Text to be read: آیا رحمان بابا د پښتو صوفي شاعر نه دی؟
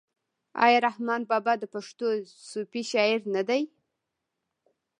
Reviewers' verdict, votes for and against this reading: accepted, 2, 1